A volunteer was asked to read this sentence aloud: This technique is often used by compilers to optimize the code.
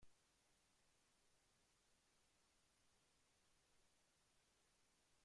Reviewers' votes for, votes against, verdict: 0, 2, rejected